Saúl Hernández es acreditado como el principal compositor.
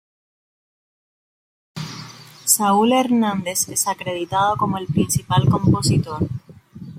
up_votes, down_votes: 0, 2